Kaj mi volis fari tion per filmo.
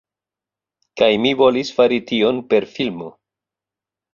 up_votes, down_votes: 2, 0